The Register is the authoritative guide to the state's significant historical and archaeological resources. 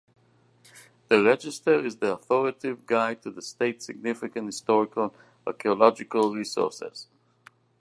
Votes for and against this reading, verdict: 2, 0, accepted